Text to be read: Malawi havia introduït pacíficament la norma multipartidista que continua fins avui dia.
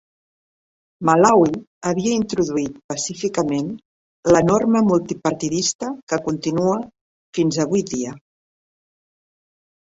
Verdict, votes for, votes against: accepted, 2, 0